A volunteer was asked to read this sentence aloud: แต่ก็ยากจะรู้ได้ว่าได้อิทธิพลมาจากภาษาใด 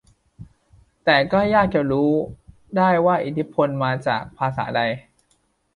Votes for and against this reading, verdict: 0, 2, rejected